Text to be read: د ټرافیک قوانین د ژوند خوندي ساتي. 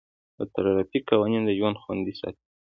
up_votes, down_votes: 2, 1